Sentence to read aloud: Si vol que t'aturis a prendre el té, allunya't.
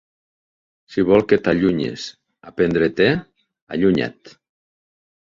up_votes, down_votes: 0, 2